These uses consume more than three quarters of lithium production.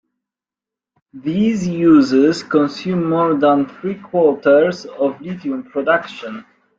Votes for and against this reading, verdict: 2, 0, accepted